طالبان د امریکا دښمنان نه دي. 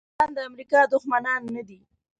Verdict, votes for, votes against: rejected, 0, 2